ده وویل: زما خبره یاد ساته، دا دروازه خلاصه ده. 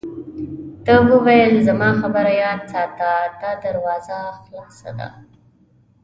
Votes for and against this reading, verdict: 2, 0, accepted